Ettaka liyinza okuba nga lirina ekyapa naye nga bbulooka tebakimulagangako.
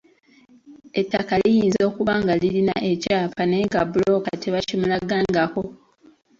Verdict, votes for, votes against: accepted, 2, 0